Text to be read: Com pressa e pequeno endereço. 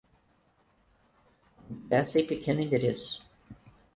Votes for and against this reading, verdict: 0, 4, rejected